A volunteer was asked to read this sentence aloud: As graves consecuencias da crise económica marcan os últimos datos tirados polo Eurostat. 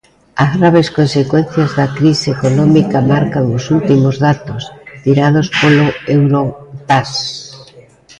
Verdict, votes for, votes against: rejected, 0, 2